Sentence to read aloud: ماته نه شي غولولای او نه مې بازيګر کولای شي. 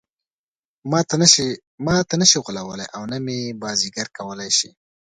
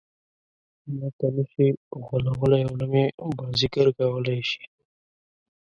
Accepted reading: first